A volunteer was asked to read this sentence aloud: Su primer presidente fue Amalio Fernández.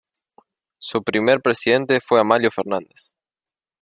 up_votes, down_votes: 2, 0